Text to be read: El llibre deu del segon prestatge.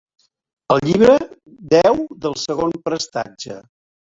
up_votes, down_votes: 2, 0